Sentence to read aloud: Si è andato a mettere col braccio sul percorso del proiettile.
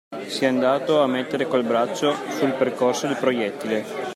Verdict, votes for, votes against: accepted, 2, 1